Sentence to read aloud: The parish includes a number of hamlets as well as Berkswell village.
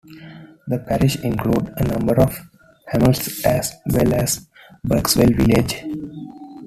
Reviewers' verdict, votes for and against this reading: rejected, 1, 2